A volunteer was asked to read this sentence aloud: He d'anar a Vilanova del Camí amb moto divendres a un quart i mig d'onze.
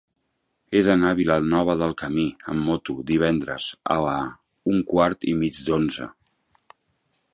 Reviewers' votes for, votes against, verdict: 3, 13, rejected